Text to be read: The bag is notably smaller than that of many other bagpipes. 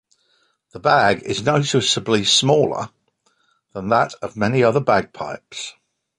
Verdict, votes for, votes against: rejected, 0, 2